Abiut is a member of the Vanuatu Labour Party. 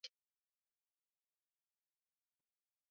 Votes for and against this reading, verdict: 0, 2, rejected